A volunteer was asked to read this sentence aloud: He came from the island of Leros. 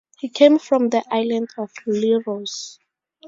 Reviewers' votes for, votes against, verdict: 2, 0, accepted